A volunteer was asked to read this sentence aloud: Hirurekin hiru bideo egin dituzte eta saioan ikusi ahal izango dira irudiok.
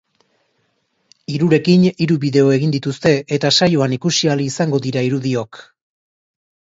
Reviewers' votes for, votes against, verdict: 2, 0, accepted